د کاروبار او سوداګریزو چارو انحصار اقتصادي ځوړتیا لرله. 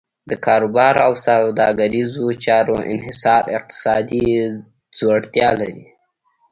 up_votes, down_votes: 1, 2